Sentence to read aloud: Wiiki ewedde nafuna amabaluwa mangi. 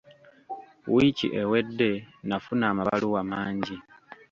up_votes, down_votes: 2, 1